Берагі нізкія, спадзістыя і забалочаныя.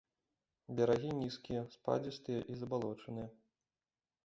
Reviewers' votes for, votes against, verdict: 2, 0, accepted